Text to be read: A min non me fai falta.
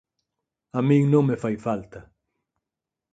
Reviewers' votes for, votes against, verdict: 4, 0, accepted